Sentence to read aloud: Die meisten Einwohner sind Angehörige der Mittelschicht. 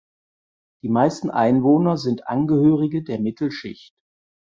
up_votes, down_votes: 4, 0